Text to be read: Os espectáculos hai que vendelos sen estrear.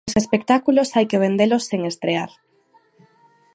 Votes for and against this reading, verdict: 2, 0, accepted